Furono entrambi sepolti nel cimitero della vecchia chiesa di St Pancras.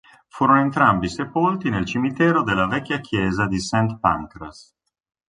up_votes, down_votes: 2, 0